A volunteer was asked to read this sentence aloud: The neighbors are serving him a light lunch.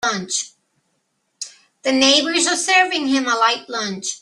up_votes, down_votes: 1, 2